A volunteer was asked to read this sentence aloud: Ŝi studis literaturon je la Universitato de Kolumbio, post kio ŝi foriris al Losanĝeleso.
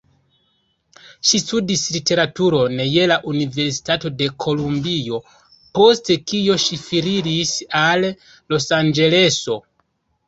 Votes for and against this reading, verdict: 0, 2, rejected